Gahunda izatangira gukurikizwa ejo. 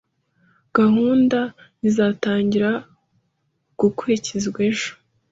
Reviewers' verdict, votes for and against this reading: accepted, 2, 0